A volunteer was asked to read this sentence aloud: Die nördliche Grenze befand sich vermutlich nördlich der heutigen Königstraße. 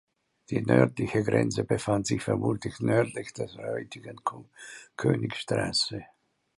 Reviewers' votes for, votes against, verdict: 1, 2, rejected